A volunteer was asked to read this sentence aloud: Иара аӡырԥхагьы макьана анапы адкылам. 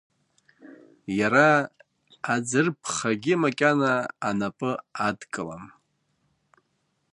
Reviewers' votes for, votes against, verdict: 2, 0, accepted